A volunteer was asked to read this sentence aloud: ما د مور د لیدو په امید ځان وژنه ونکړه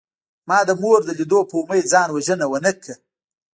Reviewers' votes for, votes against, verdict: 1, 2, rejected